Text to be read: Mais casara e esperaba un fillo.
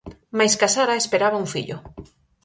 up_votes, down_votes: 4, 0